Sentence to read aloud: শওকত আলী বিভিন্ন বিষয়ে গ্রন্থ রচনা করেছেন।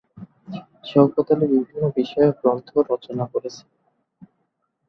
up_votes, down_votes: 0, 2